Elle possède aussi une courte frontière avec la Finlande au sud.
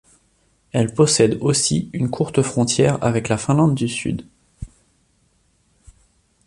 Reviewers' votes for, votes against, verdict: 0, 2, rejected